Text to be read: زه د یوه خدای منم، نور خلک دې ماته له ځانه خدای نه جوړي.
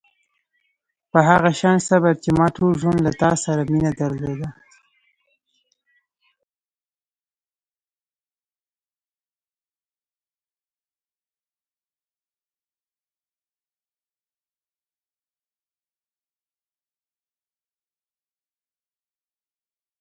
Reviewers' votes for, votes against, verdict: 2, 3, rejected